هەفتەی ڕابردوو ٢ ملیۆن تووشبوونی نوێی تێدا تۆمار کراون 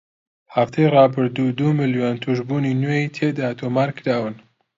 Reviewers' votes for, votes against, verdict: 0, 2, rejected